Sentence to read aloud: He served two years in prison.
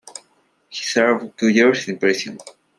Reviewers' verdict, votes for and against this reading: accepted, 2, 1